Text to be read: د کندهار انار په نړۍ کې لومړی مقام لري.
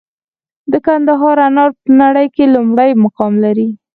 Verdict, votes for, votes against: accepted, 4, 0